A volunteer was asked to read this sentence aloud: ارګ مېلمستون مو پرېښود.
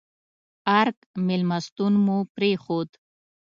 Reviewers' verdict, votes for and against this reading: accepted, 2, 0